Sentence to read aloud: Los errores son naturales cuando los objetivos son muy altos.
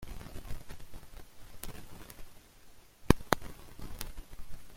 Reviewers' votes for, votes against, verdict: 0, 2, rejected